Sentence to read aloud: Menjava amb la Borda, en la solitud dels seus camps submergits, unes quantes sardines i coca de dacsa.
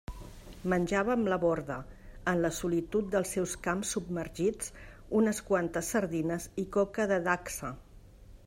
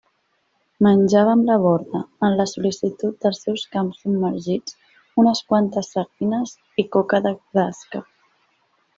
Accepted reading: first